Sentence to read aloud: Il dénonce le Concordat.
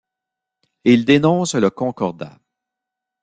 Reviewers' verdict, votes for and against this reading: accepted, 2, 0